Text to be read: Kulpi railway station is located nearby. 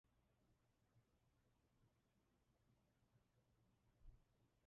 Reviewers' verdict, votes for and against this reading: rejected, 0, 2